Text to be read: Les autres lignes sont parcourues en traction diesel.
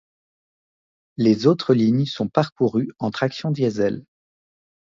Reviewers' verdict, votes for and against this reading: accepted, 2, 0